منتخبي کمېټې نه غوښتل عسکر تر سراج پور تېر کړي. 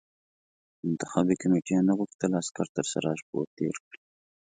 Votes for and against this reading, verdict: 2, 0, accepted